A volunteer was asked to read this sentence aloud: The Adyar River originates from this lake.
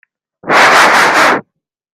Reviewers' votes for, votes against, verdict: 0, 2, rejected